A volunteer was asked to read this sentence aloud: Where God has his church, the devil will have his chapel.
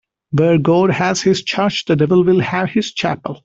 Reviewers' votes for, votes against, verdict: 2, 0, accepted